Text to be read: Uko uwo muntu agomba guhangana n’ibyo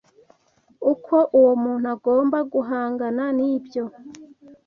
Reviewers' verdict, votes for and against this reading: accepted, 2, 0